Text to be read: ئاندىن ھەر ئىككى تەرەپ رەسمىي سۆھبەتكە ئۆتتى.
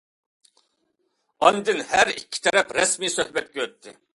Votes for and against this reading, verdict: 2, 0, accepted